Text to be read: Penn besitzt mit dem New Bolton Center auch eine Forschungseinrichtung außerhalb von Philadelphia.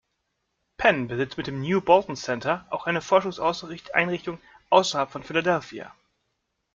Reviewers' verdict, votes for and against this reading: rejected, 1, 2